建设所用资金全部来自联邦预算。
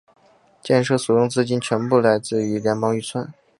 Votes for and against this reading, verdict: 3, 0, accepted